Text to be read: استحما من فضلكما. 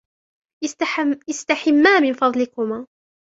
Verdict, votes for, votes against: rejected, 0, 2